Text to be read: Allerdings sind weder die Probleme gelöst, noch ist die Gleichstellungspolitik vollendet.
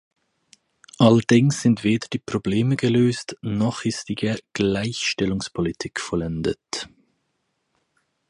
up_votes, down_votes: 0, 4